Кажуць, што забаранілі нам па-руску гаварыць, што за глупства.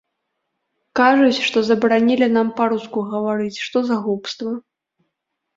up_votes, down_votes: 1, 2